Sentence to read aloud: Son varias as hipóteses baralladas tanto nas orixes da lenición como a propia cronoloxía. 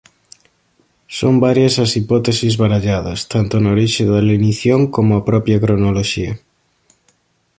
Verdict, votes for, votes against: rejected, 1, 2